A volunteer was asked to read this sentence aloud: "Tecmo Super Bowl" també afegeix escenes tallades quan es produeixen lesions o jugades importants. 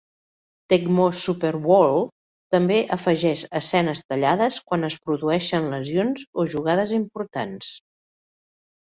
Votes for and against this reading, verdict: 1, 2, rejected